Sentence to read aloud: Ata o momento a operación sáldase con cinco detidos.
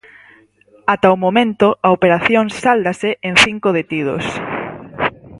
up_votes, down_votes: 0, 4